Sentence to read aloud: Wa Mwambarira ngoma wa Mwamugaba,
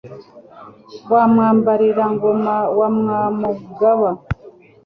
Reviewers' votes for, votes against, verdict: 2, 0, accepted